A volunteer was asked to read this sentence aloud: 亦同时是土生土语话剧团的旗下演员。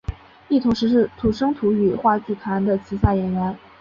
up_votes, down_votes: 2, 0